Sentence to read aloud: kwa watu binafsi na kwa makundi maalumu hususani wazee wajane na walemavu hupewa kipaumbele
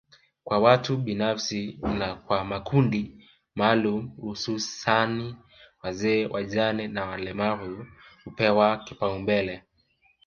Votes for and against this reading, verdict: 1, 2, rejected